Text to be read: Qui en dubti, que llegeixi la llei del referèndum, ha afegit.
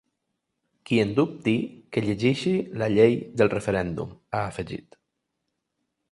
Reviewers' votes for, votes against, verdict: 2, 0, accepted